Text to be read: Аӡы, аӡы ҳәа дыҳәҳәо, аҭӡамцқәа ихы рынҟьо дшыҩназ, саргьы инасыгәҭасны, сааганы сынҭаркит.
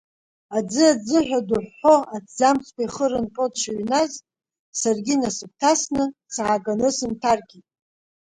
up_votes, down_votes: 2, 0